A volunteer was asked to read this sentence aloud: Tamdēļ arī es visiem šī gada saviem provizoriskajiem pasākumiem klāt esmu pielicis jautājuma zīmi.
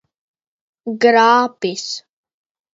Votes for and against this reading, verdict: 0, 2, rejected